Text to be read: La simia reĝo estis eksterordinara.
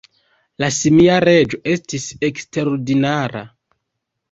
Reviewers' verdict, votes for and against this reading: rejected, 1, 2